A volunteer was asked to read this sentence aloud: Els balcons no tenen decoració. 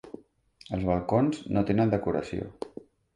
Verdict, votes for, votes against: accepted, 2, 0